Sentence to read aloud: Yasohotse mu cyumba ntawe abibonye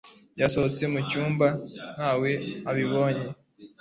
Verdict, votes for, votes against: accepted, 2, 0